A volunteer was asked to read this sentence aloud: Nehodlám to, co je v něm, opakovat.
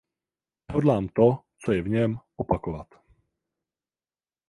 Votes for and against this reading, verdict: 0, 4, rejected